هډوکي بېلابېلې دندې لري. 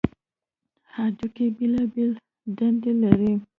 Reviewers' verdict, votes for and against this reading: rejected, 0, 2